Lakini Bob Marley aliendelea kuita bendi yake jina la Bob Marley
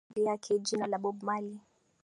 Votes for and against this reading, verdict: 0, 2, rejected